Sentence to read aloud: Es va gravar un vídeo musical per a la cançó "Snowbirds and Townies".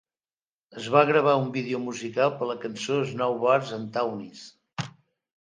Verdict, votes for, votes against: accepted, 3, 1